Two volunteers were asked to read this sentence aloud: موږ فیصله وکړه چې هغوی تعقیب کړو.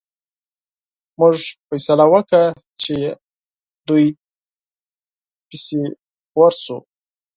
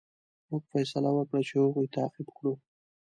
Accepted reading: second